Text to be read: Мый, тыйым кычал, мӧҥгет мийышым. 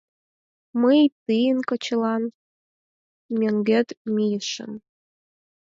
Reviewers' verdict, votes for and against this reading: rejected, 2, 4